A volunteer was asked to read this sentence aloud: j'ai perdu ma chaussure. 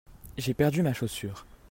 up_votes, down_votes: 2, 0